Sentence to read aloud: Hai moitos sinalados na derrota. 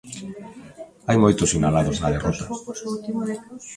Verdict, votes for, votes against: rejected, 0, 2